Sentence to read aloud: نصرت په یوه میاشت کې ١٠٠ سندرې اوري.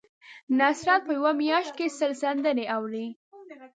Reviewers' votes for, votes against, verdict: 0, 2, rejected